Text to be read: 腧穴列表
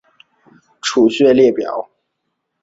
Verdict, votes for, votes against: accepted, 2, 0